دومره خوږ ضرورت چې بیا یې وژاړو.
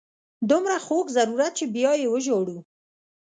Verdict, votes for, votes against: accepted, 2, 0